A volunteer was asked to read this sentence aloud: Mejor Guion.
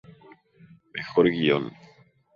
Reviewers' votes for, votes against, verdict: 2, 0, accepted